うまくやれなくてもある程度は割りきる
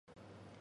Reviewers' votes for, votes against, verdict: 0, 2, rejected